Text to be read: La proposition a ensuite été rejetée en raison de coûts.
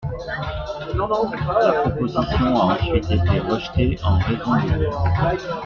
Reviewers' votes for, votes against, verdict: 1, 2, rejected